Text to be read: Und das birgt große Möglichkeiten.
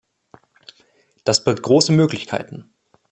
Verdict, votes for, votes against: rejected, 0, 2